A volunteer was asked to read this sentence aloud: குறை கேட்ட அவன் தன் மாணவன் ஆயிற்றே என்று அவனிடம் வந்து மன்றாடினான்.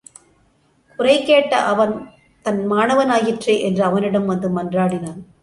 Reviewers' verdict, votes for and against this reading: accepted, 2, 0